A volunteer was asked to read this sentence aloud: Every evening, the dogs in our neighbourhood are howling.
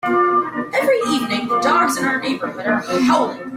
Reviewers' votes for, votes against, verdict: 2, 4, rejected